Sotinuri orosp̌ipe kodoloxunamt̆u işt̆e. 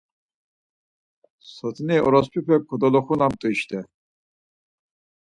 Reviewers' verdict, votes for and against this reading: rejected, 2, 4